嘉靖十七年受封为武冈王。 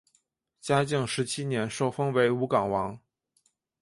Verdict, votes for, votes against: accepted, 2, 0